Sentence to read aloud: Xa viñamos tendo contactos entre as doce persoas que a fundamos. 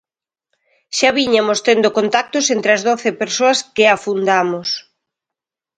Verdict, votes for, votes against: rejected, 1, 2